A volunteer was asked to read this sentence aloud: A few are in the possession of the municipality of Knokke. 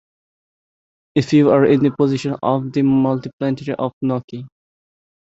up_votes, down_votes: 1, 2